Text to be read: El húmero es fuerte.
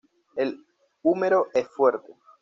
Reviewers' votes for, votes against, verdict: 2, 0, accepted